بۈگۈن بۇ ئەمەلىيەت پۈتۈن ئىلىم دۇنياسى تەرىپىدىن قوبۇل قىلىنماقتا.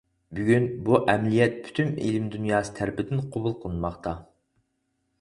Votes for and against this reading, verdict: 4, 0, accepted